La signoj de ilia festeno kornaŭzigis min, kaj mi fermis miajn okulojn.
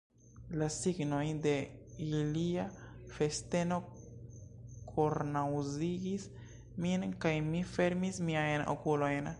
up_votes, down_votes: 3, 0